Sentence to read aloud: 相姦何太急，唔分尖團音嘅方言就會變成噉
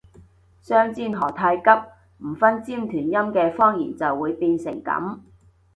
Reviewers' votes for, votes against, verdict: 0, 2, rejected